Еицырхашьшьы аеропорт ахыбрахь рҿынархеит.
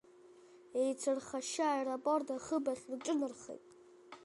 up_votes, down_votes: 3, 0